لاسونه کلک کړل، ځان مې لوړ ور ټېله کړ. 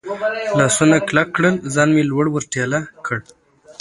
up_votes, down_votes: 2, 0